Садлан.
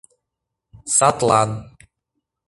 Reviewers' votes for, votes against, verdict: 2, 0, accepted